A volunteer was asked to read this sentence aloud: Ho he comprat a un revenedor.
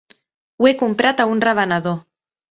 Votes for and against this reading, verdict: 2, 0, accepted